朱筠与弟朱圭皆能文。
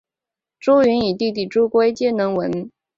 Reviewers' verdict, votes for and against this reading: accepted, 2, 0